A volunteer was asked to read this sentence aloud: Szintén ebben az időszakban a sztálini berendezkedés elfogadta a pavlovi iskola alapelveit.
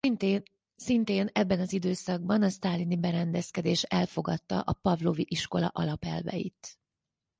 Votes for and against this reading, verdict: 2, 4, rejected